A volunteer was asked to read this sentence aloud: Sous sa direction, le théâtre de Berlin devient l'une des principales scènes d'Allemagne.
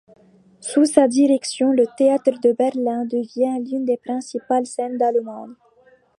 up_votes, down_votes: 0, 2